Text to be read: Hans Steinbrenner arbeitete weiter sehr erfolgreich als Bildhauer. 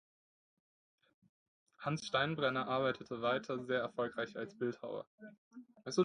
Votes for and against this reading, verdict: 0, 2, rejected